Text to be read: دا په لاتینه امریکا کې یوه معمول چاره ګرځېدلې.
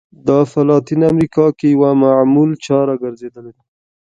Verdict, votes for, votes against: accepted, 2, 0